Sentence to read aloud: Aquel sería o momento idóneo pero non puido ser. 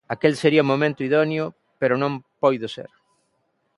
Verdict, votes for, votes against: rejected, 0, 2